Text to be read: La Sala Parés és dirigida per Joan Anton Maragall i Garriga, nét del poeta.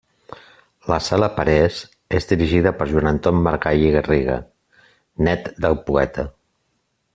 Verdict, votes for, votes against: accepted, 2, 1